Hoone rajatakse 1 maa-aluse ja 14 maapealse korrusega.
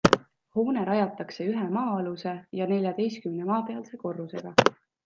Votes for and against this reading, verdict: 0, 2, rejected